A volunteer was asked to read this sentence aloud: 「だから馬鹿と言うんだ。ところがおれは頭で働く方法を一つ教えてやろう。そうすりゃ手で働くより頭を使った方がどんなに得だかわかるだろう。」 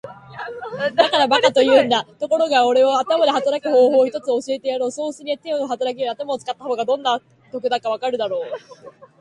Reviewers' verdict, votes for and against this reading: accepted, 2, 1